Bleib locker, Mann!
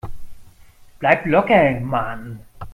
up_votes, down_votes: 0, 2